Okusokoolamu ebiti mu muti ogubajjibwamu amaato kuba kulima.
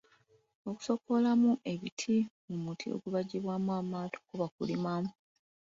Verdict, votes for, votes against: accepted, 2, 1